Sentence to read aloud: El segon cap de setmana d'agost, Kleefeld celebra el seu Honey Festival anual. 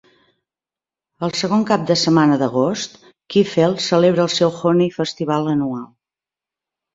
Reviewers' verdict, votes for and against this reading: accepted, 2, 0